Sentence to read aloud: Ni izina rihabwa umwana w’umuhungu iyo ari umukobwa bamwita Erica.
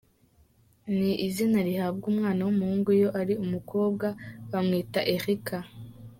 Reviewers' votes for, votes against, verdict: 3, 0, accepted